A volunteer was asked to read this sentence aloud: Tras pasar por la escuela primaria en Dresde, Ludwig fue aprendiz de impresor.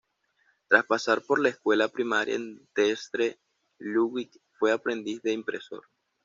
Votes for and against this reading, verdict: 2, 0, accepted